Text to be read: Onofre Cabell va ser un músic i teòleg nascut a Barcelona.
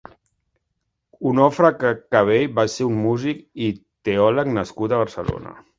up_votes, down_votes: 0, 3